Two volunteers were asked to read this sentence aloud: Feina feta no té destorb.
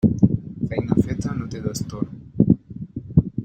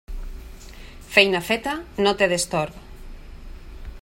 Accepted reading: second